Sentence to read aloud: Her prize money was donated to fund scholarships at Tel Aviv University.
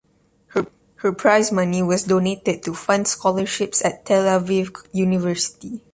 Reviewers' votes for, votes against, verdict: 2, 0, accepted